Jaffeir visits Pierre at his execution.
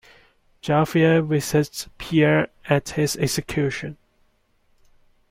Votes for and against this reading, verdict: 2, 1, accepted